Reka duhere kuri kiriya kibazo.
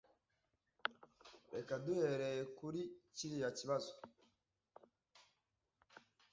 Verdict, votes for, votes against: rejected, 0, 2